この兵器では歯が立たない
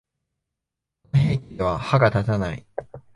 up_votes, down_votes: 0, 2